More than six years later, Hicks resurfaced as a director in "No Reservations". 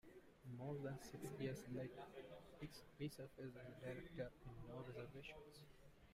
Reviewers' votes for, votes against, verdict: 0, 2, rejected